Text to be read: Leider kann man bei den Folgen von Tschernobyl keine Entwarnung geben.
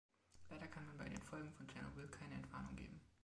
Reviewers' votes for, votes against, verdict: 1, 2, rejected